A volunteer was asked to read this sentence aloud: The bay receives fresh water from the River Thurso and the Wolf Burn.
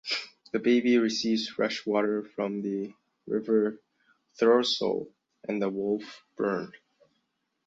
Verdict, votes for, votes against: accepted, 2, 1